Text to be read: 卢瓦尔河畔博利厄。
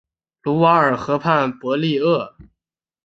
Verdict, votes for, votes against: accepted, 5, 0